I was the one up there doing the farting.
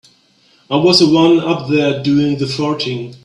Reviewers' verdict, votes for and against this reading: accepted, 3, 0